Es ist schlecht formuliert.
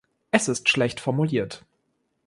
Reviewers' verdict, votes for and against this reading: accepted, 2, 0